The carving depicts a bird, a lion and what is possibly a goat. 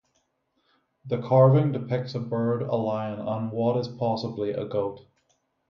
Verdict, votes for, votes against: rejected, 0, 3